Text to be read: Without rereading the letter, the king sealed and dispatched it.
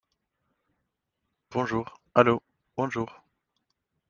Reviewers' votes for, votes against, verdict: 0, 2, rejected